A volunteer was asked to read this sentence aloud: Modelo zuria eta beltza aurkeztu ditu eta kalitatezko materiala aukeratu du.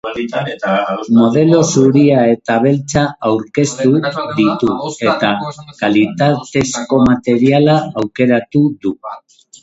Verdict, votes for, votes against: rejected, 0, 2